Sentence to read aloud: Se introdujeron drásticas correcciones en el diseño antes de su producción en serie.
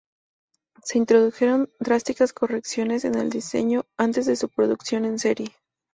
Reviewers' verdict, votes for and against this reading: accepted, 2, 0